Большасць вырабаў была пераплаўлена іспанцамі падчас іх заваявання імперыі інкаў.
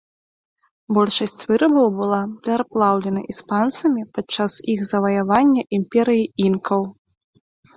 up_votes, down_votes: 1, 3